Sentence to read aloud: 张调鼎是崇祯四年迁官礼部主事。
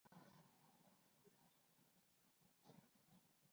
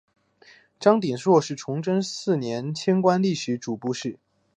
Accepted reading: second